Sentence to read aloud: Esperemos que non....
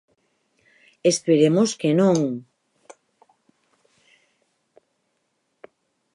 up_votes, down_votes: 4, 0